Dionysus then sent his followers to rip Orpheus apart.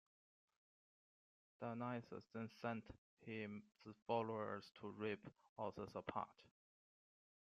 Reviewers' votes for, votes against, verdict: 1, 2, rejected